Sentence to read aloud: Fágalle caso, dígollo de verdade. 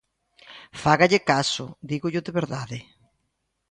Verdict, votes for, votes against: accepted, 2, 0